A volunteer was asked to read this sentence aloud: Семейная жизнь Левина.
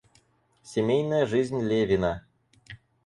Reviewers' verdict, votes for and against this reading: accepted, 4, 0